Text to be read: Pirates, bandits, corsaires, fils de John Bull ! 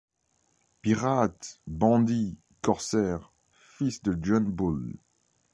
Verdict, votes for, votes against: accepted, 2, 0